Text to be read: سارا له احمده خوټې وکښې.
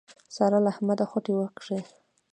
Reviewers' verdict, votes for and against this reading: rejected, 1, 2